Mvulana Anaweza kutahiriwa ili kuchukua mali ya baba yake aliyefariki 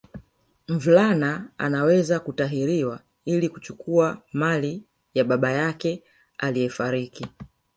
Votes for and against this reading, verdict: 2, 1, accepted